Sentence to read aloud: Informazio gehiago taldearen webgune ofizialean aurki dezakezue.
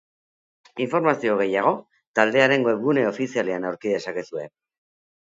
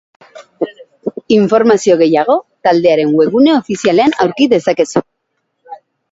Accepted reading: first